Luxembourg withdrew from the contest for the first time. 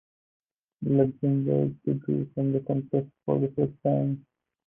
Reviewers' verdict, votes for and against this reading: accepted, 4, 0